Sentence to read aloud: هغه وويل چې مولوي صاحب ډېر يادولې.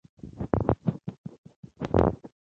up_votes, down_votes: 1, 2